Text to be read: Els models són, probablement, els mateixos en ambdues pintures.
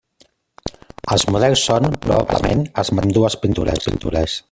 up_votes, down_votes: 0, 2